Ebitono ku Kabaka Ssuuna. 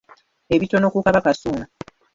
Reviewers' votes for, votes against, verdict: 0, 2, rejected